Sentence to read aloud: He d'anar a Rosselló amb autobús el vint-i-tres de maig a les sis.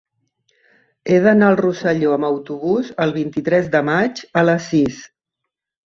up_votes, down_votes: 1, 2